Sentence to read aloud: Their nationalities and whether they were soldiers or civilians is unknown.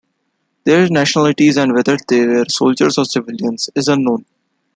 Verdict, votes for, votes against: rejected, 0, 2